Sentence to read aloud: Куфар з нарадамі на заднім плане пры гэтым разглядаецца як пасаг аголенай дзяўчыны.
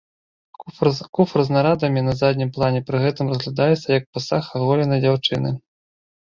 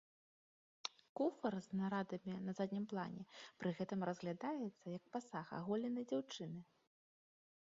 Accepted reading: second